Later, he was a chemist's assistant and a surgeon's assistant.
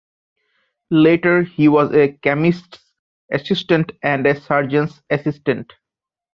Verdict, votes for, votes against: accepted, 2, 1